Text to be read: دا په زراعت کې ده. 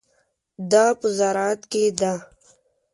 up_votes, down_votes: 2, 0